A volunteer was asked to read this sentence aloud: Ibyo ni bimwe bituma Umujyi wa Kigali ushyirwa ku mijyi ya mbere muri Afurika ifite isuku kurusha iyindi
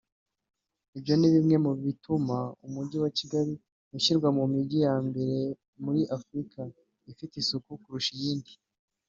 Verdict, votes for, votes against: accepted, 3, 0